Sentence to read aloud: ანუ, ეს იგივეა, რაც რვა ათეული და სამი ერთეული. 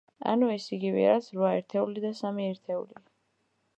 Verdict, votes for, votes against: rejected, 0, 2